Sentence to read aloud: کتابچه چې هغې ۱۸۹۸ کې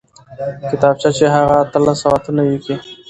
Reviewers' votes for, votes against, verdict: 0, 2, rejected